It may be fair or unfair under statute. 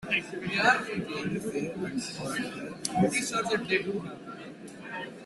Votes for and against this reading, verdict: 0, 2, rejected